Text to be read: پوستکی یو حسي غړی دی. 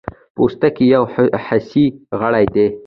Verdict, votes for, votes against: rejected, 0, 2